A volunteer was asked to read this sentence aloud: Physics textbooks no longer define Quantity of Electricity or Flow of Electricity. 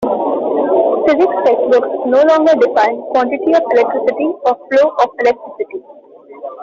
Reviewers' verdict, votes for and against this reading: rejected, 0, 2